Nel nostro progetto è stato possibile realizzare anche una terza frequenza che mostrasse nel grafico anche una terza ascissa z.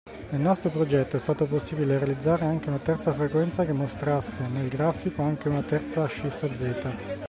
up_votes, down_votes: 2, 0